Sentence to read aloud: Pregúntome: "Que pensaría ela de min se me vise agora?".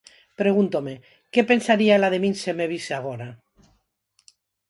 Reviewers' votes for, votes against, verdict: 4, 0, accepted